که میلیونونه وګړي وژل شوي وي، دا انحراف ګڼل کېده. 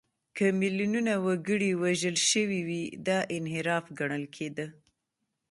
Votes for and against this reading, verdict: 1, 2, rejected